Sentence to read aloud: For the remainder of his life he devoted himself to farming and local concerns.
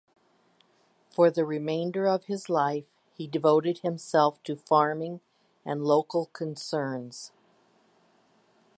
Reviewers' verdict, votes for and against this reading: accepted, 2, 0